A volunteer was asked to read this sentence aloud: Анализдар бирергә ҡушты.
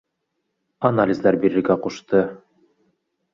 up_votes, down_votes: 1, 2